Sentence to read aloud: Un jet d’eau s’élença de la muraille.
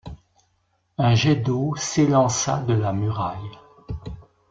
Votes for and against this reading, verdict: 2, 0, accepted